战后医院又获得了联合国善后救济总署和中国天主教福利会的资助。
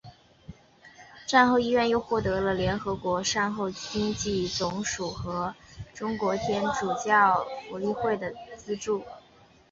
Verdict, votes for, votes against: accepted, 3, 1